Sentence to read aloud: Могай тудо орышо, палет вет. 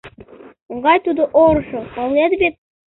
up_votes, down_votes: 2, 1